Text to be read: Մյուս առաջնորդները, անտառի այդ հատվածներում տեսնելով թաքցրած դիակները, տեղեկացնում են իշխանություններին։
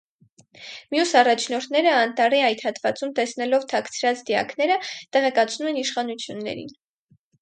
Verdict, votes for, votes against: rejected, 0, 4